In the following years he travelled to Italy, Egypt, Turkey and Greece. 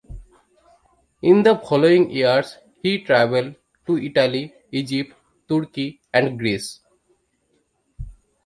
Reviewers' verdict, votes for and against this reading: accepted, 2, 0